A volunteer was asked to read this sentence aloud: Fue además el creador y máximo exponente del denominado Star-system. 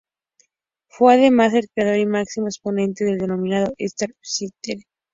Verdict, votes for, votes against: rejected, 0, 2